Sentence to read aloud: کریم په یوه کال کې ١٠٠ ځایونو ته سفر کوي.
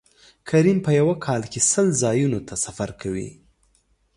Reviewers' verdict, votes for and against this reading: rejected, 0, 2